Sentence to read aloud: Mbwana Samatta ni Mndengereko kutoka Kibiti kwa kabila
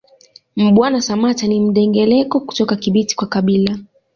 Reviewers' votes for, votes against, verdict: 1, 3, rejected